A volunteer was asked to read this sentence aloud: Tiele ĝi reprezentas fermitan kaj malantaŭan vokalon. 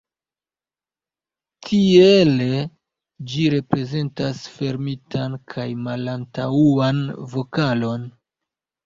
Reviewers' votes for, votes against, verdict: 1, 2, rejected